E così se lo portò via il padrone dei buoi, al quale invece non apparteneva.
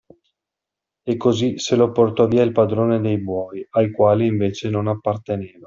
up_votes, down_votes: 2, 0